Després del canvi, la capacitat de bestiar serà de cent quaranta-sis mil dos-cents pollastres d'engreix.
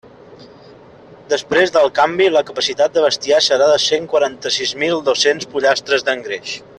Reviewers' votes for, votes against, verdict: 2, 0, accepted